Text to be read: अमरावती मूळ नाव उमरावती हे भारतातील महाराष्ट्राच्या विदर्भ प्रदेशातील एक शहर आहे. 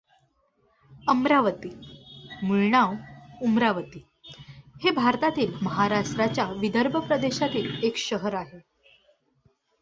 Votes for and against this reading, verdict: 2, 0, accepted